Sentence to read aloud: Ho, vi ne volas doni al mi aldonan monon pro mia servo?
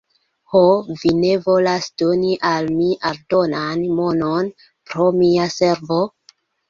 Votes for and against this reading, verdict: 0, 2, rejected